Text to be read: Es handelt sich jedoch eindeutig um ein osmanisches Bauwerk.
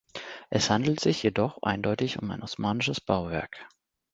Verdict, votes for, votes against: accepted, 2, 0